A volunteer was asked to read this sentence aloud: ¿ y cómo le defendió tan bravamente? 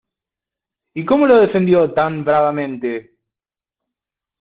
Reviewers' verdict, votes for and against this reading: accepted, 2, 1